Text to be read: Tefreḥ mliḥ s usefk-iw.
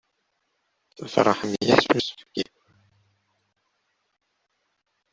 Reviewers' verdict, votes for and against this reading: rejected, 0, 2